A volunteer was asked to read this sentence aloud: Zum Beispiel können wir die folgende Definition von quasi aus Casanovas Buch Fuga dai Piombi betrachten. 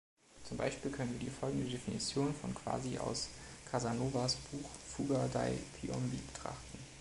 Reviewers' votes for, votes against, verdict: 3, 0, accepted